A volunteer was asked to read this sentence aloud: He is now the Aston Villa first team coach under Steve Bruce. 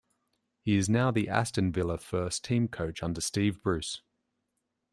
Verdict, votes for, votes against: accepted, 2, 0